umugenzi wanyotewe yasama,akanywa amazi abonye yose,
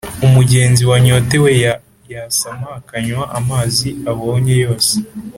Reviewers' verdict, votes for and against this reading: rejected, 0, 3